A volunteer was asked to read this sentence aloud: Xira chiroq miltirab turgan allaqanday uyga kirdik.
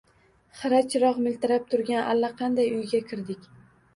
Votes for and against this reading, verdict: 2, 0, accepted